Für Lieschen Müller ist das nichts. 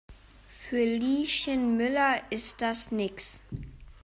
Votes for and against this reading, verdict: 0, 2, rejected